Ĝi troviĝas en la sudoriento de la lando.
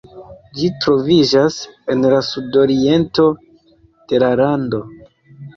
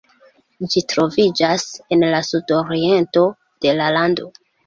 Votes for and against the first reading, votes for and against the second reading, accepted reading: 2, 0, 0, 2, first